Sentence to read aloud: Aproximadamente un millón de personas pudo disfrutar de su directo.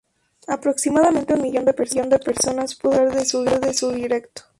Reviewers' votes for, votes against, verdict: 2, 2, rejected